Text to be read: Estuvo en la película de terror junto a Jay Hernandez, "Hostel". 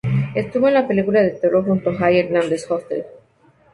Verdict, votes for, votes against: accepted, 2, 0